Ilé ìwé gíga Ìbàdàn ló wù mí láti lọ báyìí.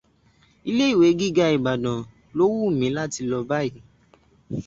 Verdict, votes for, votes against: accepted, 2, 0